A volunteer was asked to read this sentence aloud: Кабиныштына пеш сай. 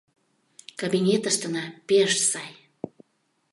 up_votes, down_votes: 0, 3